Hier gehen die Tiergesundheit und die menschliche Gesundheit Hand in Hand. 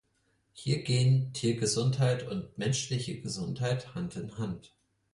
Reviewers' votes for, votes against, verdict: 2, 4, rejected